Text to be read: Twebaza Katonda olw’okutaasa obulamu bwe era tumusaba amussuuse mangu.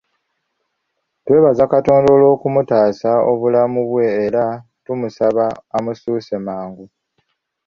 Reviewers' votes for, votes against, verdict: 1, 2, rejected